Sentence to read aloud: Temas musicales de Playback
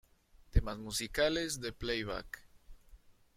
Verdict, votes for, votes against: accepted, 2, 0